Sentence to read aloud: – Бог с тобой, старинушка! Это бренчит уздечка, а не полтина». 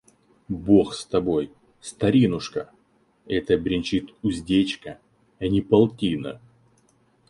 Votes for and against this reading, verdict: 4, 0, accepted